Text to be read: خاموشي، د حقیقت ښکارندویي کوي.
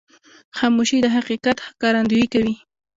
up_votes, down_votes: 2, 1